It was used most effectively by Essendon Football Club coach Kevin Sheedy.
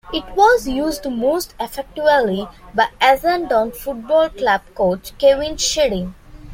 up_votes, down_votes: 0, 2